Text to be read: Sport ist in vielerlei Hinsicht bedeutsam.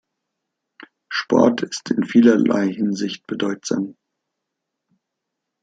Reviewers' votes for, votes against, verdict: 1, 2, rejected